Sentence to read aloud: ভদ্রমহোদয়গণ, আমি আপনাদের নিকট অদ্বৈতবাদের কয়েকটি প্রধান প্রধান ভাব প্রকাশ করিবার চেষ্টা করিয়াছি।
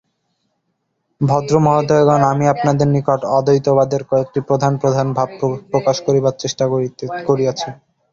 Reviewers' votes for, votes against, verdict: 0, 2, rejected